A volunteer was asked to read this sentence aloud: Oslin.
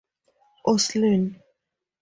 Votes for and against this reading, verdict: 2, 0, accepted